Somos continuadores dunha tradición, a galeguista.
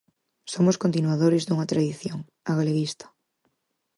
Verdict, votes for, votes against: accepted, 4, 0